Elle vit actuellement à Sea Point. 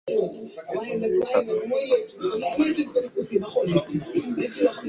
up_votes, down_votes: 0, 2